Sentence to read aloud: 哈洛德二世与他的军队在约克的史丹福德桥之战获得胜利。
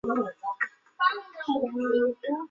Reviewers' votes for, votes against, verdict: 1, 2, rejected